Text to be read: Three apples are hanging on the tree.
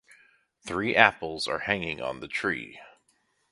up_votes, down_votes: 2, 0